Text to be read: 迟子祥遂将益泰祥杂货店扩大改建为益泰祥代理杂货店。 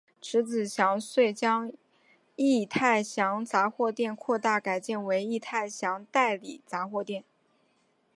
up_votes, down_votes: 2, 1